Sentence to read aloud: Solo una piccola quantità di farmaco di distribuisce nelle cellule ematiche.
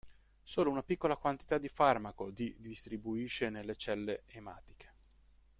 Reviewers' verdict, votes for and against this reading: accepted, 2, 0